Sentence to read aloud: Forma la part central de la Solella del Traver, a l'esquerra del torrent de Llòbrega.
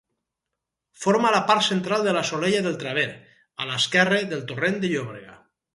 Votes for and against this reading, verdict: 2, 2, rejected